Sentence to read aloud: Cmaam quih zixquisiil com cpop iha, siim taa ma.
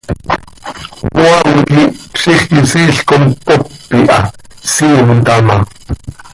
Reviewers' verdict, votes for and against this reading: accepted, 2, 0